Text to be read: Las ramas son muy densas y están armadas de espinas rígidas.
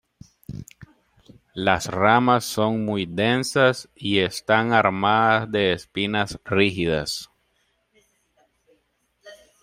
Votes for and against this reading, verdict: 2, 0, accepted